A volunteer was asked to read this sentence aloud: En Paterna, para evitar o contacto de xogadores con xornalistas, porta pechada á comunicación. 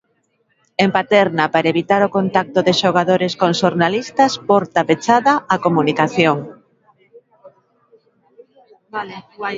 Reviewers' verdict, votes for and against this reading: rejected, 1, 2